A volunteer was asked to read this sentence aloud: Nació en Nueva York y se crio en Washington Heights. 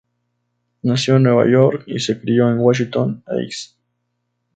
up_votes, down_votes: 6, 0